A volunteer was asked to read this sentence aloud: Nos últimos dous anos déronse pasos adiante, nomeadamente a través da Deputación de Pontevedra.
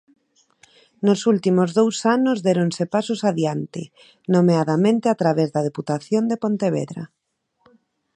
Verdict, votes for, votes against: accepted, 2, 0